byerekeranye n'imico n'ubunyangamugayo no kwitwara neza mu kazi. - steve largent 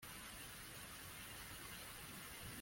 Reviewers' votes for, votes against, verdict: 0, 2, rejected